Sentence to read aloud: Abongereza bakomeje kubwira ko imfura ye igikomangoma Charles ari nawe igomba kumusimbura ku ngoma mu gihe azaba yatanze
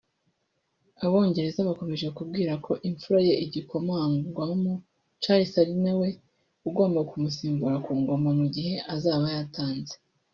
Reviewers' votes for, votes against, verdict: 0, 2, rejected